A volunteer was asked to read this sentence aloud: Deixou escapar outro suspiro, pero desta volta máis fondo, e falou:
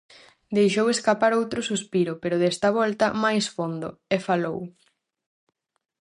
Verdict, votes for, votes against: accepted, 4, 0